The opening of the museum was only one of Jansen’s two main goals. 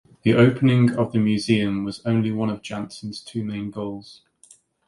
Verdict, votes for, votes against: accepted, 2, 0